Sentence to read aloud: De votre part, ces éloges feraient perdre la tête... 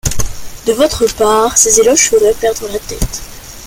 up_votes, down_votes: 2, 1